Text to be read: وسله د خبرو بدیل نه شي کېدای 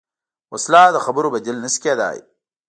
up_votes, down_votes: 0, 2